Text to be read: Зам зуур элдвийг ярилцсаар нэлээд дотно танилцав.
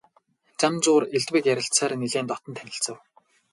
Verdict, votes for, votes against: rejected, 0, 2